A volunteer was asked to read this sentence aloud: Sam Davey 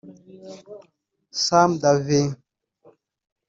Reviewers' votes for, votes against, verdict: 1, 2, rejected